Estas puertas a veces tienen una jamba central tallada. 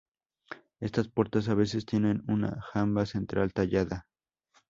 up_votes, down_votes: 4, 0